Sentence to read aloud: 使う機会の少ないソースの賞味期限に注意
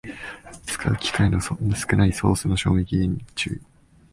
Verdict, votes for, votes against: rejected, 0, 2